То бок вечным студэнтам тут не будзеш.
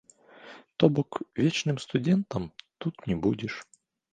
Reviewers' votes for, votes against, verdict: 0, 2, rejected